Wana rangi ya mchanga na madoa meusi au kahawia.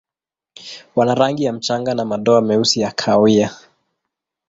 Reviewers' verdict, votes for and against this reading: rejected, 1, 2